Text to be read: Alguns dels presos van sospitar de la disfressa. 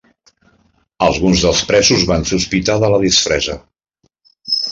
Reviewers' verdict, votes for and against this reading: rejected, 0, 2